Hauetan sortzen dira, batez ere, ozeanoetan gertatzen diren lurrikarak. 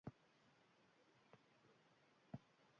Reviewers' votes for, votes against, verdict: 0, 4, rejected